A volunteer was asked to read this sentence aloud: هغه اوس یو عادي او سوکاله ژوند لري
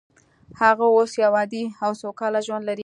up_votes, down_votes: 2, 0